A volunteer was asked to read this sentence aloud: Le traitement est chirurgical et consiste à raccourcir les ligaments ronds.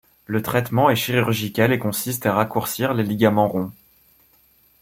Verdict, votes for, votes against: accepted, 2, 0